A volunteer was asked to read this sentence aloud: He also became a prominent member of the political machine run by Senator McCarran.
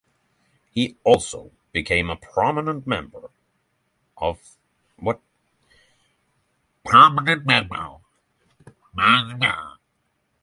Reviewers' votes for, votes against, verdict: 0, 3, rejected